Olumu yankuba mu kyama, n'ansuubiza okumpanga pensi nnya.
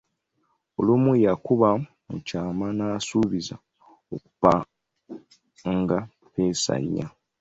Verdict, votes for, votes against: rejected, 0, 2